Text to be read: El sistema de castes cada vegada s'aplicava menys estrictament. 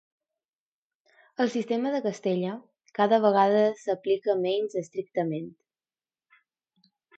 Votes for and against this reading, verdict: 0, 2, rejected